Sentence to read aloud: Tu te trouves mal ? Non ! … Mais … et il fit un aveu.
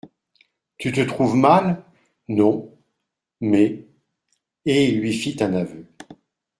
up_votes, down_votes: 1, 2